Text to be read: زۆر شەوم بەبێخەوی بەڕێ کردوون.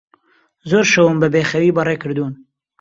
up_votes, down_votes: 2, 0